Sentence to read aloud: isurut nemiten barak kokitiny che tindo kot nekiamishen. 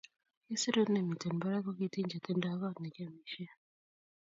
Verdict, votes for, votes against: rejected, 1, 2